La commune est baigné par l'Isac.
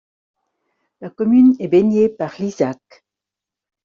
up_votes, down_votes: 2, 0